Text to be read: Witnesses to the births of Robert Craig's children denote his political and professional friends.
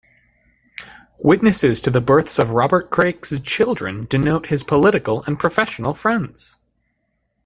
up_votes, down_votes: 1, 2